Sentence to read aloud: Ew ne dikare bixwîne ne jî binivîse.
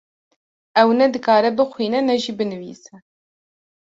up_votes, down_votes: 2, 0